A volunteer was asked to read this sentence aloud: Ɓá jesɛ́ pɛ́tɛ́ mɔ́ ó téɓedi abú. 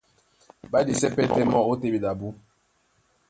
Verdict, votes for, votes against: rejected, 0, 2